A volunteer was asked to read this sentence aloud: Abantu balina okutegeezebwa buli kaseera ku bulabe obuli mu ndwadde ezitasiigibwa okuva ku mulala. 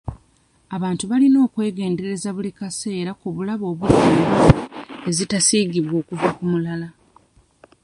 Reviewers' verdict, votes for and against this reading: rejected, 0, 2